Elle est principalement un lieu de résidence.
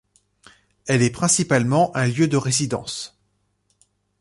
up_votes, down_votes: 2, 0